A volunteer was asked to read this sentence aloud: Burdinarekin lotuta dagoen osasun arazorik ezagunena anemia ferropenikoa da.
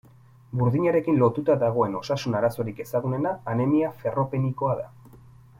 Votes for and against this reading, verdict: 2, 0, accepted